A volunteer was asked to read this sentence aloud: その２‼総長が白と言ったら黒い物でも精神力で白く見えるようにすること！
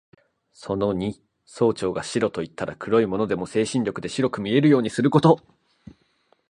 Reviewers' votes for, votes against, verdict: 0, 2, rejected